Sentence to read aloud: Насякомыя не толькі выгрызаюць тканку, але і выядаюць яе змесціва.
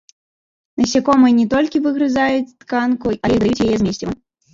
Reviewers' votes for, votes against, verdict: 0, 2, rejected